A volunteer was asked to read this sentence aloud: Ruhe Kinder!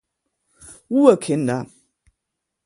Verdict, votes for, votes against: accepted, 2, 0